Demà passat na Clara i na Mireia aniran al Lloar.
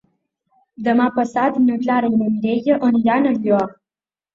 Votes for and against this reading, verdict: 2, 1, accepted